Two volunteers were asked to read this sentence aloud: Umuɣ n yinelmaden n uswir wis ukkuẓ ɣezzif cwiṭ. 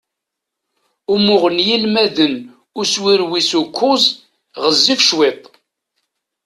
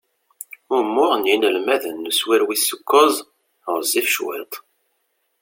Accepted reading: second